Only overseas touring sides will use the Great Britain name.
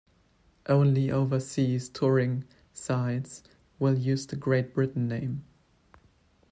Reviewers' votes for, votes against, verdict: 2, 0, accepted